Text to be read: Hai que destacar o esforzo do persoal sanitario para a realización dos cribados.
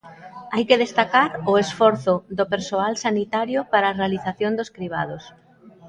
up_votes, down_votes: 2, 0